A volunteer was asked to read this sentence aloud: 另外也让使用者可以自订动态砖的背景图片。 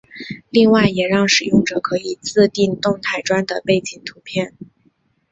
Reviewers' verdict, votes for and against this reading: accepted, 2, 0